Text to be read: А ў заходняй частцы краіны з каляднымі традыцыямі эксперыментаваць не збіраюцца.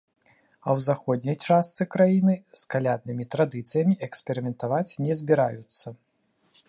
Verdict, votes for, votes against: accepted, 2, 0